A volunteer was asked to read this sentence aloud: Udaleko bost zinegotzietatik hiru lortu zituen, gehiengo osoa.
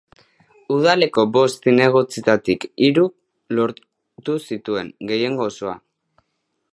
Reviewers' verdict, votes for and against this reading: rejected, 2, 3